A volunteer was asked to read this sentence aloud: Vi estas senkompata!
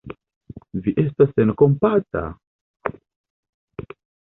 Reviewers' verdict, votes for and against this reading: accepted, 2, 0